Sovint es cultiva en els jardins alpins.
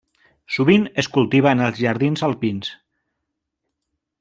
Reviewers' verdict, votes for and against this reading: accepted, 2, 1